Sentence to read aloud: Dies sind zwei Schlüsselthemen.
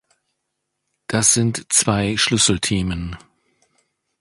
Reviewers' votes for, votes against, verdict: 1, 2, rejected